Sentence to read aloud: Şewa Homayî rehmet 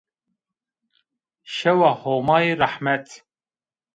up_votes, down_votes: 2, 1